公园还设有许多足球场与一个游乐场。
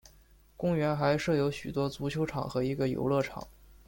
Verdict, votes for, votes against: rejected, 1, 2